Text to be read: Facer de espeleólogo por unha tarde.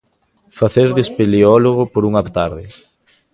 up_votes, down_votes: 0, 2